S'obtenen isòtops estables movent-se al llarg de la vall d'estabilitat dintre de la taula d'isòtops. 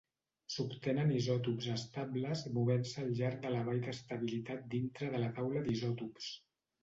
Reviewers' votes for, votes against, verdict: 0, 2, rejected